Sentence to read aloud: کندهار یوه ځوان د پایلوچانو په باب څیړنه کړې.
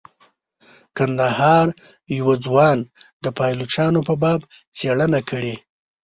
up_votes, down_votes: 3, 0